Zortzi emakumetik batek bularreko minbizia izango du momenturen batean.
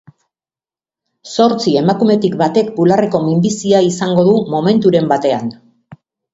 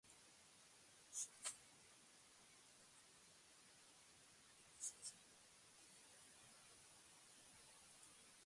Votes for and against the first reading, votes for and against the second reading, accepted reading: 2, 0, 0, 2, first